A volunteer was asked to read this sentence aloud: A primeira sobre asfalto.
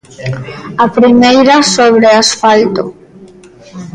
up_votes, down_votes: 2, 0